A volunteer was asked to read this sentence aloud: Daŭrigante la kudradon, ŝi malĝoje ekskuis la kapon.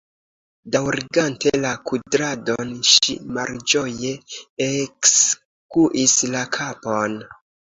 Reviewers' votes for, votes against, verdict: 2, 1, accepted